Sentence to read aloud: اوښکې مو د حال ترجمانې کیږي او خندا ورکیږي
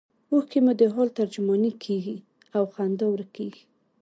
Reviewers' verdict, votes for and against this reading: accepted, 2, 0